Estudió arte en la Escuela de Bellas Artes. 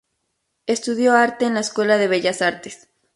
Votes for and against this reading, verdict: 2, 0, accepted